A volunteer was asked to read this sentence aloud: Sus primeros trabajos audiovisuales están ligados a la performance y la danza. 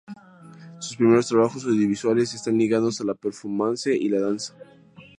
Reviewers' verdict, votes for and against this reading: rejected, 2, 2